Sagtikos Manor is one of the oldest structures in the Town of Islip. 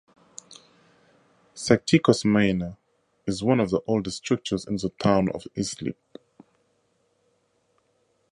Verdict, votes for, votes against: accepted, 4, 0